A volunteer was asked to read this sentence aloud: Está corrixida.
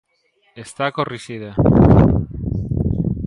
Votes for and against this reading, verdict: 2, 1, accepted